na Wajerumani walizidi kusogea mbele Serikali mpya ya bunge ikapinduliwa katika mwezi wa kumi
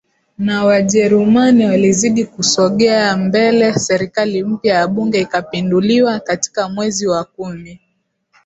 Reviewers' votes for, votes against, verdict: 0, 2, rejected